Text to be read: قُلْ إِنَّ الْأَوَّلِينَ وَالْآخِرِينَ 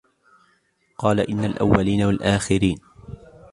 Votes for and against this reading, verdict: 0, 2, rejected